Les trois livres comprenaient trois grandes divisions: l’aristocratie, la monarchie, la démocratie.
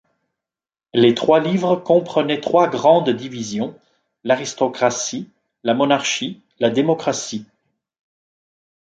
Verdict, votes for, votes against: accepted, 2, 0